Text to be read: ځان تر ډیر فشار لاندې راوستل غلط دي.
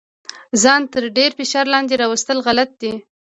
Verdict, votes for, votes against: accepted, 2, 0